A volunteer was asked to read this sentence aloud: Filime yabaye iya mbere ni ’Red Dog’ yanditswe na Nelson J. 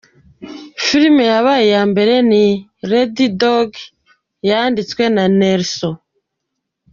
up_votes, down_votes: 2, 0